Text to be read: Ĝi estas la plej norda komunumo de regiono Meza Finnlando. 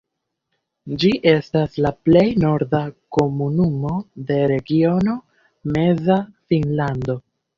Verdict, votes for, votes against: rejected, 0, 2